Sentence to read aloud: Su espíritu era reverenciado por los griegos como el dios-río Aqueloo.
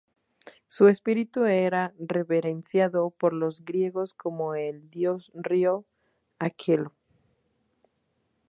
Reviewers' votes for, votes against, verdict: 2, 0, accepted